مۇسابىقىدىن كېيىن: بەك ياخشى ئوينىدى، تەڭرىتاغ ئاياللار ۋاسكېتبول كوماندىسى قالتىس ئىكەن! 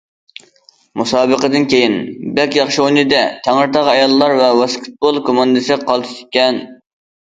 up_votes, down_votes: 0, 2